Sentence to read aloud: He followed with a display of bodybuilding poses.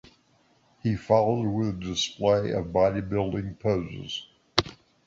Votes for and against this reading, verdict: 1, 2, rejected